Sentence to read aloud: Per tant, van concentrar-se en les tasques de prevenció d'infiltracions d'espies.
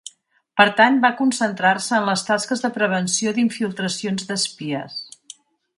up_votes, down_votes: 0, 2